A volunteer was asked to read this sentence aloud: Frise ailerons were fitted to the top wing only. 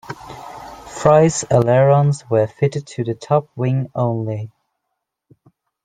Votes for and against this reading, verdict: 0, 2, rejected